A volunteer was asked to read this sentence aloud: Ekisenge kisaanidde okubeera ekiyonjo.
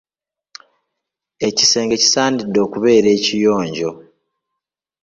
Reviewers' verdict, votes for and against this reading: accepted, 2, 0